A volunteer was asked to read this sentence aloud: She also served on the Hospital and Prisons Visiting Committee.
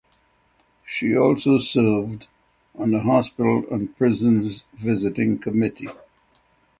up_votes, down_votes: 6, 0